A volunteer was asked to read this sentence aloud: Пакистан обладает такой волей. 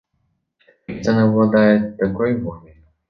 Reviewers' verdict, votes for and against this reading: rejected, 0, 2